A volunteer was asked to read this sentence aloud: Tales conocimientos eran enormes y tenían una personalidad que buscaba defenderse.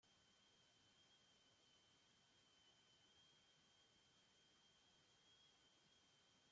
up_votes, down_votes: 0, 2